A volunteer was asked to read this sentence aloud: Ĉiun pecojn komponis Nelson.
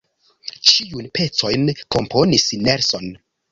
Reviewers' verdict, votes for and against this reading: rejected, 1, 2